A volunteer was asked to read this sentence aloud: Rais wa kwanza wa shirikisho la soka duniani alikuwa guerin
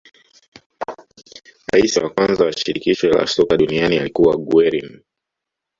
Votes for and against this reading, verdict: 1, 2, rejected